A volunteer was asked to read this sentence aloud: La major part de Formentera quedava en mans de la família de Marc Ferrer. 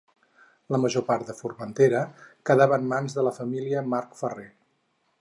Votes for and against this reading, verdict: 4, 2, accepted